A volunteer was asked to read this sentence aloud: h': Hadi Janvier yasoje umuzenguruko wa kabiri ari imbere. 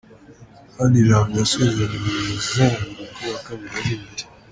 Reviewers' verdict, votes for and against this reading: rejected, 1, 3